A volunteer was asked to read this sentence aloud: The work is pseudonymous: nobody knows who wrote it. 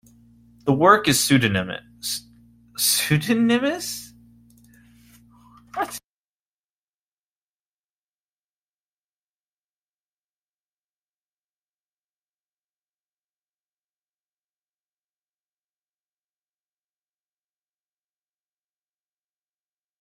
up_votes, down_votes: 0, 2